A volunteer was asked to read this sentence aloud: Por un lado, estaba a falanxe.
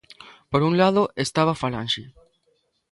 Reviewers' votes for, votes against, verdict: 2, 1, accepted